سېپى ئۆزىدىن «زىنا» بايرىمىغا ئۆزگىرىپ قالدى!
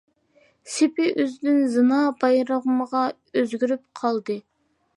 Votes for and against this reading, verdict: 2, 0, accepted